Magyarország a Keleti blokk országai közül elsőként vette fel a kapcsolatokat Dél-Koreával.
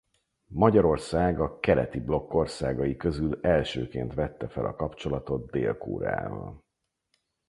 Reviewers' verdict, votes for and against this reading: rejected, 2, 4